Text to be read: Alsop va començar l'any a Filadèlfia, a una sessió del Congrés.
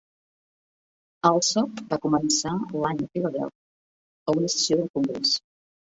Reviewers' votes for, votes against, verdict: 1, 2, rejected